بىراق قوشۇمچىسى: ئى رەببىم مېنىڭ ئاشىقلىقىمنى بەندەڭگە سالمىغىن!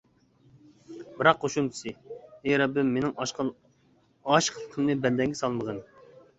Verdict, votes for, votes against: rejected, 0, 2